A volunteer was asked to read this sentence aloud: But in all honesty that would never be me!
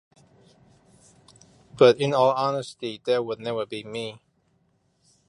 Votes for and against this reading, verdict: 2, 1, accepted